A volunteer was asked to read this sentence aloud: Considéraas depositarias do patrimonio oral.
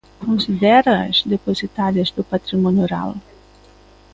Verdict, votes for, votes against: accepted, 2, 0